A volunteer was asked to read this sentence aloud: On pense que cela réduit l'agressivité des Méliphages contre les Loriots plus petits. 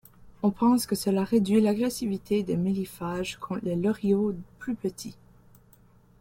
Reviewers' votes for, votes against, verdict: 1, 2, rejected